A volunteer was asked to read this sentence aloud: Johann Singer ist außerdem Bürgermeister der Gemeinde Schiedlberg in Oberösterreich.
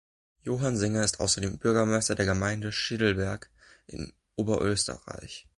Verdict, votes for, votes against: accepted, 2, 0